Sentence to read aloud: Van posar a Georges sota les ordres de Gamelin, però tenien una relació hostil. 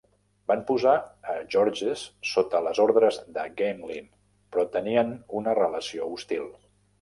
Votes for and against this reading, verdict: 1, 2, rejected